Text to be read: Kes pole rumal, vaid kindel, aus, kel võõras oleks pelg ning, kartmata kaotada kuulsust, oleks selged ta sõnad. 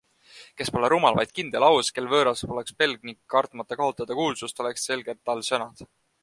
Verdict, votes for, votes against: rejected, 1, 2